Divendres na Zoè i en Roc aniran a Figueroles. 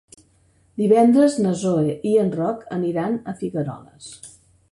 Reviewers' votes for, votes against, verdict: 3, 0, accepted